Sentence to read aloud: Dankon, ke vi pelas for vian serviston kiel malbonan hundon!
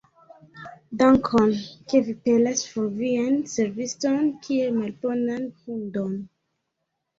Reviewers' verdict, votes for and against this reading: accepted, 2, 1